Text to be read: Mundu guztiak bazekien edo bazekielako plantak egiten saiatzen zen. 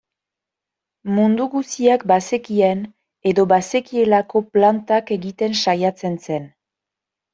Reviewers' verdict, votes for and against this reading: accepted, 2, 0